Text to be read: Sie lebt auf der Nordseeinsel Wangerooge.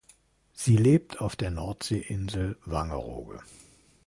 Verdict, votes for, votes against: accepted, 2, 0